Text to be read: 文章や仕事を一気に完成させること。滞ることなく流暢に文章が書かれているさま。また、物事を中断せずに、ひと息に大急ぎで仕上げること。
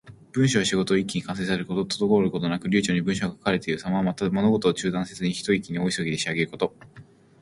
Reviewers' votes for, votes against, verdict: 2, 0, accepted